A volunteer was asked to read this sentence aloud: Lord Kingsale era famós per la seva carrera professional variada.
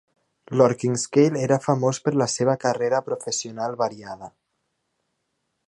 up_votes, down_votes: 0, 2